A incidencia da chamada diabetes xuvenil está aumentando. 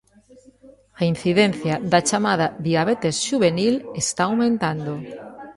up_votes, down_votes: 1, 2